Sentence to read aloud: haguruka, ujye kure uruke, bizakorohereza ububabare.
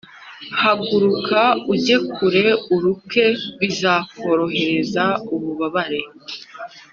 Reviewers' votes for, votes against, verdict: 2, 0, accepted